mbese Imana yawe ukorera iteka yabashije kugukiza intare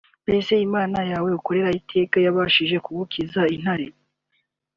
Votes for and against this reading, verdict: 2, 0, accepted